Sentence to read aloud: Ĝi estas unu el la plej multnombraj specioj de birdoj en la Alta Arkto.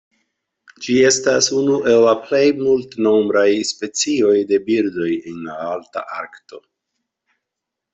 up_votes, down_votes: 2, 0